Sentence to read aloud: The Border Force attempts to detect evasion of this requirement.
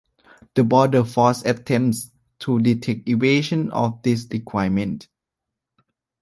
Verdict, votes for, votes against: accepted, 2, 1